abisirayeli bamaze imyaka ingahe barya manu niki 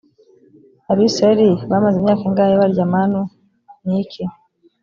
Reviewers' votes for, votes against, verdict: 2, 0, accepted